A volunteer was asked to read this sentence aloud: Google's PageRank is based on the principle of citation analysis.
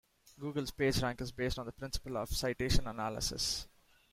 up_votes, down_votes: 2, 1